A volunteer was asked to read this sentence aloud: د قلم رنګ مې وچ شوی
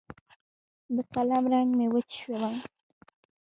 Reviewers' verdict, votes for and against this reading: rejected, 0, 2